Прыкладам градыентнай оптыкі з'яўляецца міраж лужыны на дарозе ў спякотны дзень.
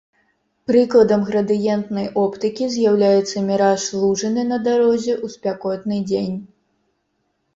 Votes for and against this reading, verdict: 1, 2, rejected